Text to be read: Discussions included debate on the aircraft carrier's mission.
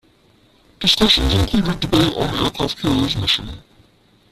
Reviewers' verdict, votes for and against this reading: rejected, 0, 2